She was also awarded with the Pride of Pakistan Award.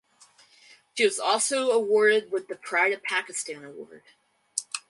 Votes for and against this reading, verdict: 2, 2, rejected